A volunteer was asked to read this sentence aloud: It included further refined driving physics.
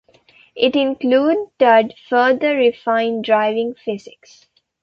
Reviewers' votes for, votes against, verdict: 1, 2, rejected